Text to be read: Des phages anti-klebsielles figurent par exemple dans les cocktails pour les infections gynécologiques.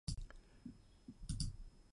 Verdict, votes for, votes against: rejected, 0, 2